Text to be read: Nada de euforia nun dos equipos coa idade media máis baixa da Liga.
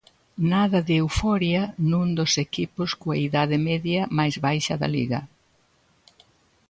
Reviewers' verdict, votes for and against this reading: accepted, 2, 0